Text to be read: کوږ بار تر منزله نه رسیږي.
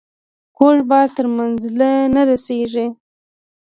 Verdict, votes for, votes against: accepted, 2, 1